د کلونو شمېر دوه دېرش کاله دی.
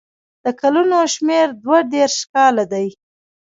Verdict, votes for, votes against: rejected, 0, 2